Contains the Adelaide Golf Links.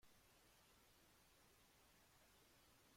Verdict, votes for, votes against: rejected, 0, 2